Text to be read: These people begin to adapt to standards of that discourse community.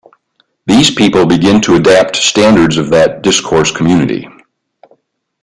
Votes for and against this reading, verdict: 2, 0, accepted